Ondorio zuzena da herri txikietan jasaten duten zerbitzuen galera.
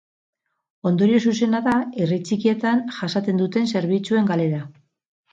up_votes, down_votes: 4, 0